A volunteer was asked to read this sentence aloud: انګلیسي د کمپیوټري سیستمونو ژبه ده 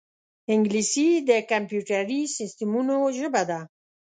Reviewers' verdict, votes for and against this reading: accepted, 2, 0